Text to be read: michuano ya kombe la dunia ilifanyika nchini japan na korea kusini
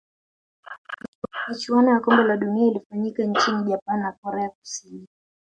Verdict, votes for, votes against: rejected, 2, 3